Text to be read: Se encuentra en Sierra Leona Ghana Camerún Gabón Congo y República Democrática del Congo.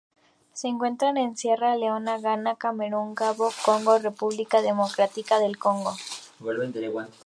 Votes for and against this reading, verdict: 2, 2, rejected